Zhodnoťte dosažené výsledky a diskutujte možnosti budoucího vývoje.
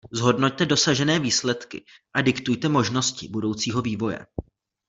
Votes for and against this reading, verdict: 0, 3, rejected